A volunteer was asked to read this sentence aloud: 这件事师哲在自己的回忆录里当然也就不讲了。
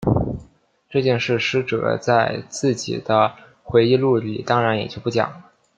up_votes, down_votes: 2, 0